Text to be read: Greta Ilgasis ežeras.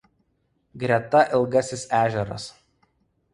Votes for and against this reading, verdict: 2, 0, accepted